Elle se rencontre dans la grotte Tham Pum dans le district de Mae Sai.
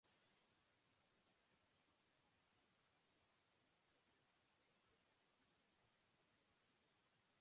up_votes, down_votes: 0, 2